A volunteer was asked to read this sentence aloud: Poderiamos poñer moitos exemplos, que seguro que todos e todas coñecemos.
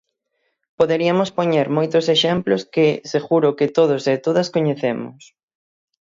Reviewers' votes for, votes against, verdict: 3, 6, rejected